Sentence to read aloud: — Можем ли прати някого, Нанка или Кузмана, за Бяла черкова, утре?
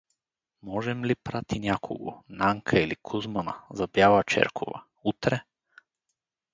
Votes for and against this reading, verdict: 0, 4, rejected